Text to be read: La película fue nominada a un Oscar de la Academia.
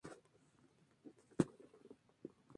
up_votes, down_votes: 0, 2